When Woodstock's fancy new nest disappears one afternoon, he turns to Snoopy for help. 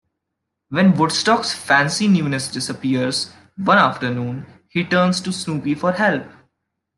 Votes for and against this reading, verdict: 2, 0, accepted